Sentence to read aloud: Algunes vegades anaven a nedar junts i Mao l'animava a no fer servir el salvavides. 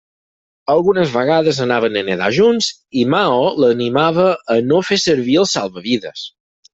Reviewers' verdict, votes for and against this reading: accepted, 4, 0